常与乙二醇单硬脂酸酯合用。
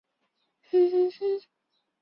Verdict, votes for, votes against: rejected, 1, 2